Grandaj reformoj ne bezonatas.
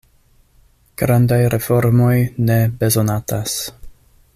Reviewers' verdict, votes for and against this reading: accepted, 2, 0